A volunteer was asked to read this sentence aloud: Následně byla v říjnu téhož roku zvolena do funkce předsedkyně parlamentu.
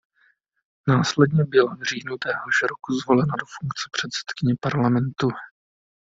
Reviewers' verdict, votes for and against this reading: rejected, 1, 2